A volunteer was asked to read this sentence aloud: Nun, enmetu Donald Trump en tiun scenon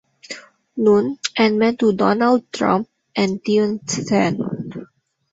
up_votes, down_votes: 0, 2